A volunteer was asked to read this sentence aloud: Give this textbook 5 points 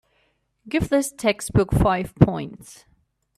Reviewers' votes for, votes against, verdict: 0, 2, rejected